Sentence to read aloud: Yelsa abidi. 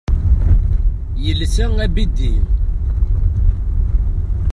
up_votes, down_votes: 1, 2